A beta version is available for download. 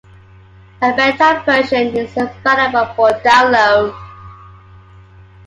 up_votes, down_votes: 2, 0